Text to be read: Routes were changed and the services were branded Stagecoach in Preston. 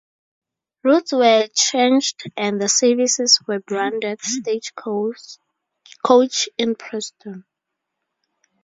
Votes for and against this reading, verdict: 0, 2, rejected